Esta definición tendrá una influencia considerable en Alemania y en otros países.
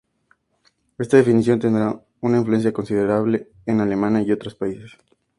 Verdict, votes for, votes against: rejected, 0, 2